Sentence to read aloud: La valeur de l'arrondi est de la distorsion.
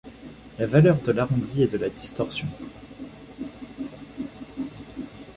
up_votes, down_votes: 2, 0